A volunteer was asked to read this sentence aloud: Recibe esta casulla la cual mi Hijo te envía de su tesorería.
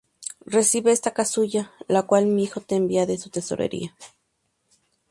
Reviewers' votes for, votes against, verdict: 4, 0, accepted